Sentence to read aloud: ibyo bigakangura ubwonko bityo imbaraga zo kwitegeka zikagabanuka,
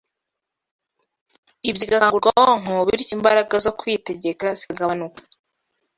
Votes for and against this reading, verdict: 1, 2, rejected